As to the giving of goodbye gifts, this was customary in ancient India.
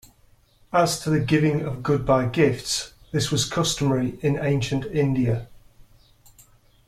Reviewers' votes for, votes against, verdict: 2, 0, accepted